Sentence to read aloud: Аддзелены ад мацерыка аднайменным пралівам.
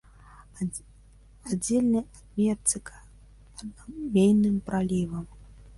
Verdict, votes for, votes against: rejected, 1, 2